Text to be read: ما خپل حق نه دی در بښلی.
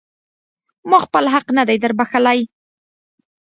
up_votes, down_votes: 2, 0